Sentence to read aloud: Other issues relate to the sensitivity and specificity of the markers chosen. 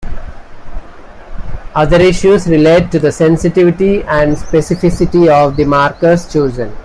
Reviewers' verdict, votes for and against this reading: accepted, 2, 0